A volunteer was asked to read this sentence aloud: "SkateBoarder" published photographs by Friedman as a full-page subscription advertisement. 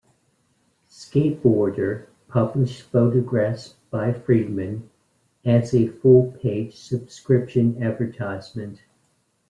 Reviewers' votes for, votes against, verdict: 2, 0, accepted